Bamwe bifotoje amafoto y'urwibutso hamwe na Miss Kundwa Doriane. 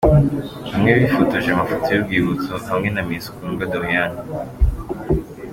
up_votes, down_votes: 2, 1